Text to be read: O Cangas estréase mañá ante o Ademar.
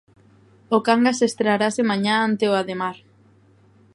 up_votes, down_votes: 1, 2